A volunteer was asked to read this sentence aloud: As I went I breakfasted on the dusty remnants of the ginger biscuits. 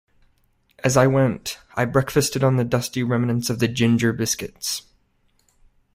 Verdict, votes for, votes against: accepted, 2, 0